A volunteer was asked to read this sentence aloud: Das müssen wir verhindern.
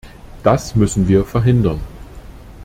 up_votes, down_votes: 2, 0